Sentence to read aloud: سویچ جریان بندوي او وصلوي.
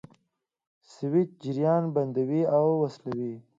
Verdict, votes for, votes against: accepted, 2, 0